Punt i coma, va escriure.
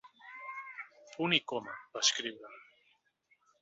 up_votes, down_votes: 2, 0